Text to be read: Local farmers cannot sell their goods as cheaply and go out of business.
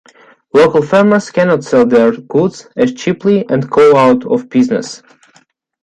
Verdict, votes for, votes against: accepted, 3, 1